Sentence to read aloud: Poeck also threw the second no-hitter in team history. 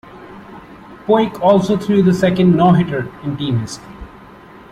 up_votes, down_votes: 1, 2